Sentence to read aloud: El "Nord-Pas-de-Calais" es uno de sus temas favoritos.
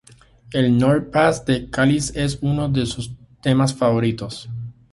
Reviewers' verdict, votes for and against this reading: rejected, 0, 2